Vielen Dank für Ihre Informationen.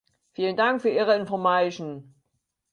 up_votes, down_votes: 0, 4